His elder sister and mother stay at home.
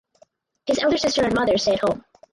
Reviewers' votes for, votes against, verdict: 4, 0, accepted